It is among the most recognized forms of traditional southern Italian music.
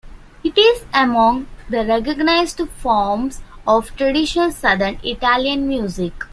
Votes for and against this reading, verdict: 0, 2, rejected